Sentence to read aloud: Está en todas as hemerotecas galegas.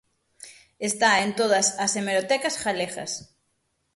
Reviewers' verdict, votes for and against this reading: accepted, 6, 0